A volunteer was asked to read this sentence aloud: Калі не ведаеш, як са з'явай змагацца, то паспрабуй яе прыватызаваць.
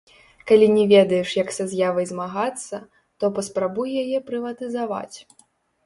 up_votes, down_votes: 1, 3